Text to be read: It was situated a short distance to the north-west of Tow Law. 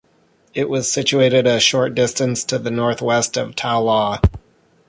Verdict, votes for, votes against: rejected, 0, 2